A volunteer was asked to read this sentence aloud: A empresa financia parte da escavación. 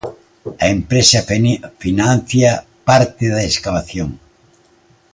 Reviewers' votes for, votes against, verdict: 0, 2, rejected